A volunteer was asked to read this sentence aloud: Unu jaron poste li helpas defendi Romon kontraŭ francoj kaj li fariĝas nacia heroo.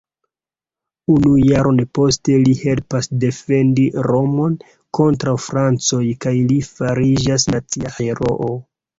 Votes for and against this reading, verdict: 0, 2, rejected